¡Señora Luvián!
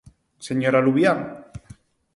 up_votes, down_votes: 4, 0